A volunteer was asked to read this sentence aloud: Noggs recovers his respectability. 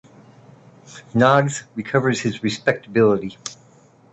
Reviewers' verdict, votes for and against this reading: accepted, 2, 0